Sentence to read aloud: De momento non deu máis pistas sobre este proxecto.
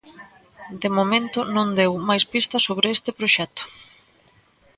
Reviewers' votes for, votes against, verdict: 3, 0, accepted